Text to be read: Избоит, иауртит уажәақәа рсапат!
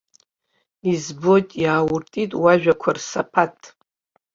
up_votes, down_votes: 0, 2